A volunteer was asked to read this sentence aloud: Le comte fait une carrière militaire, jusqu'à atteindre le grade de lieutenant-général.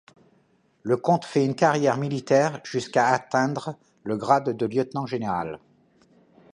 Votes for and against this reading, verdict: 2, 0, accepted